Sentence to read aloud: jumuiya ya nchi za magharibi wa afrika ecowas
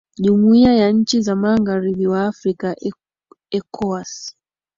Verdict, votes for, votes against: accepted, 4, 1